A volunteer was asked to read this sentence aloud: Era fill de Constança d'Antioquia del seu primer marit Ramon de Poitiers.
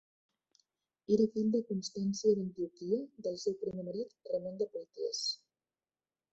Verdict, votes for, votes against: rejected, 1, 2